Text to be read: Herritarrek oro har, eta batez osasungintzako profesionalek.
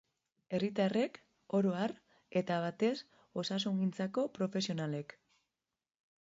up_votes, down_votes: 2, 0